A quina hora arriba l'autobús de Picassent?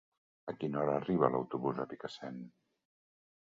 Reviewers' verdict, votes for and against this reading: accepted, 2, 0